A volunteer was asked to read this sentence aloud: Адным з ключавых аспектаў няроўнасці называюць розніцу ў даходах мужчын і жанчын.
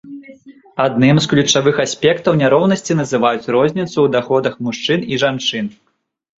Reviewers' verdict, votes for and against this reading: accepted, 3, 1